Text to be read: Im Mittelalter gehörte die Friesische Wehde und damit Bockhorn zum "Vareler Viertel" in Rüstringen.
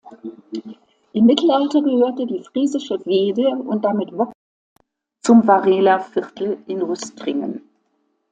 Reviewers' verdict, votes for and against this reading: rejected, 1, 2